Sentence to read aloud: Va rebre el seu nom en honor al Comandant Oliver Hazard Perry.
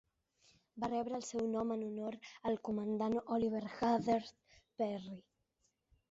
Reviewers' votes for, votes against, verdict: 3, 0, accepted